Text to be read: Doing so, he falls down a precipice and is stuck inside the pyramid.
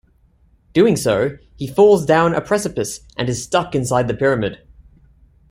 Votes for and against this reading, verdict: 2, 0, accepted